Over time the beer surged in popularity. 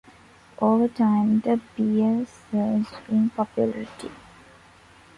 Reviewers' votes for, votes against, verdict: 2, 0, accepted